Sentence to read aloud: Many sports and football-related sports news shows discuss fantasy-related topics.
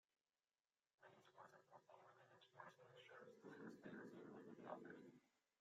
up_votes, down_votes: 0, 2